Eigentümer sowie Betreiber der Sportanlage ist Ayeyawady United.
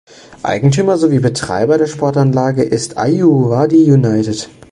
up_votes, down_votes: 0, 2